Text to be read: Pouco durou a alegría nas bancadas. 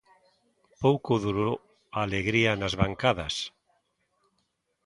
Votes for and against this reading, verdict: 1, 2, rejected